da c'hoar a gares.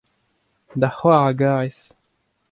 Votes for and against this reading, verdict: 2, 0, accepted